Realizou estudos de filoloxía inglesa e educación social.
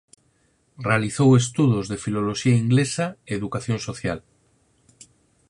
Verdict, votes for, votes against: accepted, 4, 0